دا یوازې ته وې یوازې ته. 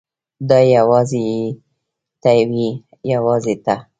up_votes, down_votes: 2, 1